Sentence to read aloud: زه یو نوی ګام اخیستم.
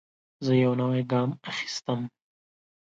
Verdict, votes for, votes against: accepted, 2, 0